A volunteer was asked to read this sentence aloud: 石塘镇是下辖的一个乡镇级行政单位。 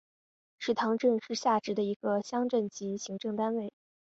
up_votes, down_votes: 1, 2